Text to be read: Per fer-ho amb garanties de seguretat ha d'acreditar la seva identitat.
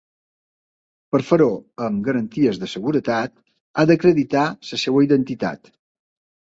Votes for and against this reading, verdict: 1, 2, rejected